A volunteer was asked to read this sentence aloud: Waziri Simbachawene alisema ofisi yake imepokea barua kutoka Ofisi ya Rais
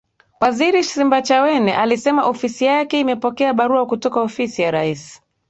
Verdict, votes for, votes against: accepted, 2, 0